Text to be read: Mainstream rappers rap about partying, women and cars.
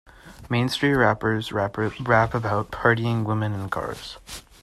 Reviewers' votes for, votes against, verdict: 1, 2, rejected